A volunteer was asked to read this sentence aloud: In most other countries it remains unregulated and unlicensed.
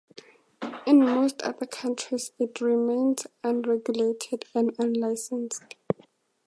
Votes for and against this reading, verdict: 4, 0, accepted